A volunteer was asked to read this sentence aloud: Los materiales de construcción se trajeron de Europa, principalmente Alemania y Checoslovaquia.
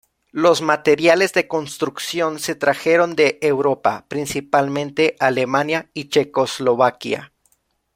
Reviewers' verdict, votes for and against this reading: accepted, 2, 0